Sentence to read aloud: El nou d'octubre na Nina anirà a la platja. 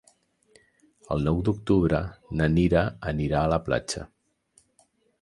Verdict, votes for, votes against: rejected, 1, 2